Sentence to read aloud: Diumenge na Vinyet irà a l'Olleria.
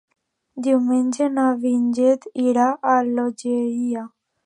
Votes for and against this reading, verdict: 0, 2, rejected